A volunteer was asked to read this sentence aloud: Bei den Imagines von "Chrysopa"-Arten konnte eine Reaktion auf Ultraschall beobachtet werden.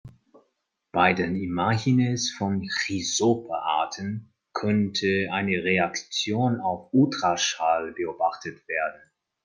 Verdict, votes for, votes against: rejected, 1, 2